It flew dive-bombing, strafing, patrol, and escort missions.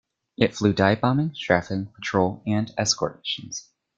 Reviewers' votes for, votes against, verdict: 0, 2, rejected